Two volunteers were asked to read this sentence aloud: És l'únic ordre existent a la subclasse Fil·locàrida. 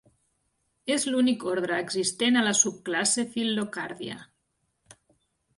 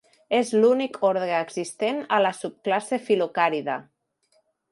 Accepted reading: second